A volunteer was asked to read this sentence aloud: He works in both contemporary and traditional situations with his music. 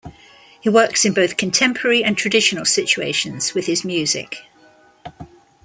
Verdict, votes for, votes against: accepted, 2, 0